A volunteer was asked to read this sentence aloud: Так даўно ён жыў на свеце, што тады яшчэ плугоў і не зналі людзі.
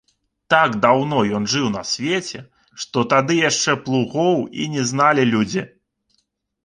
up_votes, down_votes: 2, 0